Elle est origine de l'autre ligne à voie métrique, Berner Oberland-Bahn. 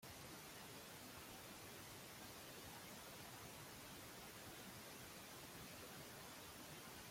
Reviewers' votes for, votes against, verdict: 0, 3, rejected